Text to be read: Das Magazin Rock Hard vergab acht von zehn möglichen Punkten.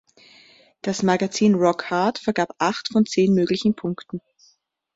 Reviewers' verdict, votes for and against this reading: accepted, 2, 0